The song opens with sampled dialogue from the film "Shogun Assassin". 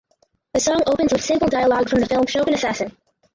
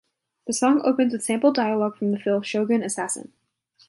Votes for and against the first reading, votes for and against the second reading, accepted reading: 0, 4, 2, 0, second